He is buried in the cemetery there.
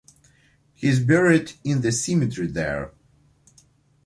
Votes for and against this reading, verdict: 2, 0, accepted